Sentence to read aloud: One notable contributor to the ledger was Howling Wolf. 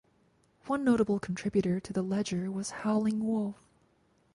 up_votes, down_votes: 4, 0